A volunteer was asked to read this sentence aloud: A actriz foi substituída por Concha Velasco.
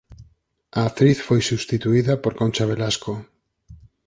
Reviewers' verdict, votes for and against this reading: accepted, 4, 0